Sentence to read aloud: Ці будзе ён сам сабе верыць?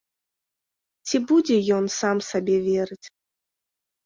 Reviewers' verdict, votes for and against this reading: accepted, 2, 0